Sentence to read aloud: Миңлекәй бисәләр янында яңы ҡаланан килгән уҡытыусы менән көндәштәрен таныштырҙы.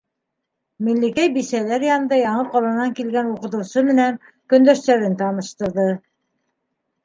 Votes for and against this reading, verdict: 3, 0, accepted